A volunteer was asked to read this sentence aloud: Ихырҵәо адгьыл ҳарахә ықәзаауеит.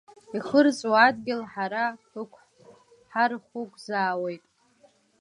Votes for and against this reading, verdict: 0, 2, rejected